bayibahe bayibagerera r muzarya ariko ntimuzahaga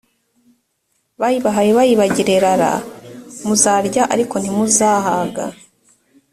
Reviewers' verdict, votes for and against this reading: accepted, 2, 0